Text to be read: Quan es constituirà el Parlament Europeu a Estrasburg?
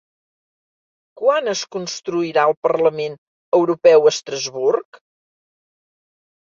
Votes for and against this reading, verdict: 1, 3, rejected